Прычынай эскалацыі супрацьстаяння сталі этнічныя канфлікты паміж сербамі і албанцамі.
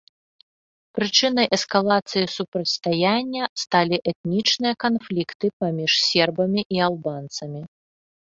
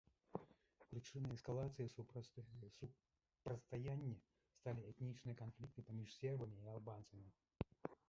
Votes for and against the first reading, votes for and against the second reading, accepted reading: 2, 0, 1, 2, first